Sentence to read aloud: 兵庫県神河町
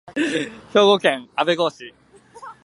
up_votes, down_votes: 1, 2